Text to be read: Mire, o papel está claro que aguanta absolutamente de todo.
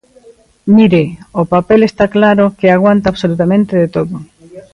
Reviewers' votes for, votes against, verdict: 2, 0, accepted